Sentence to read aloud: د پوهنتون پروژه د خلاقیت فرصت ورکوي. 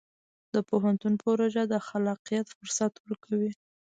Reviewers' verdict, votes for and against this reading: accepted, 2, 0